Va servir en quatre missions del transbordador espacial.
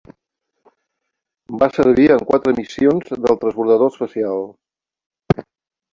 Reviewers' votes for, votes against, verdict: 2, 1, accepted